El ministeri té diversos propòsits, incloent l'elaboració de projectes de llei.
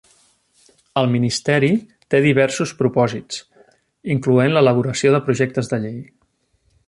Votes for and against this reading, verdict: 3, 0, accepted